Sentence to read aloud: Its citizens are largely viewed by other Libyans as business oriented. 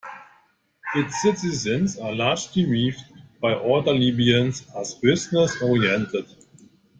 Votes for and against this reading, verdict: 2, 1, accepted